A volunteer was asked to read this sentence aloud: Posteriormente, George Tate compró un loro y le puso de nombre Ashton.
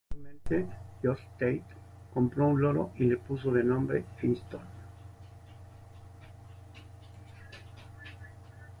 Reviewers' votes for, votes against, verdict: 1, 2, rejected